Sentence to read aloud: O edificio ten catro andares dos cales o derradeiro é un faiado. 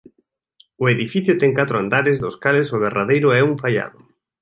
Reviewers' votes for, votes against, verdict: 2, 0, accepted